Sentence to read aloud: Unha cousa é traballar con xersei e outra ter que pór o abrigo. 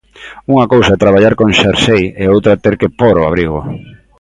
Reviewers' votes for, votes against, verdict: 2, 0, accepted